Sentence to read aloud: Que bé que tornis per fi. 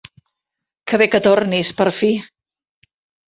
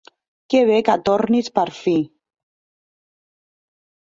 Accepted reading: first